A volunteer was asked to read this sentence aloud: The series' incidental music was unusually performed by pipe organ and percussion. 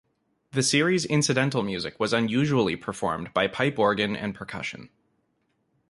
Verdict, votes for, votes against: accepted, 2, 0